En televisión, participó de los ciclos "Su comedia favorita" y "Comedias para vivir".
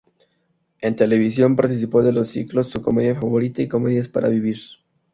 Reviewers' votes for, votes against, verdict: 4, 0, accepted